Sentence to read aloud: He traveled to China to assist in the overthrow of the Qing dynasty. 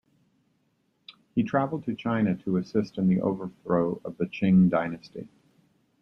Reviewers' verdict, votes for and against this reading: accepted, 2, 0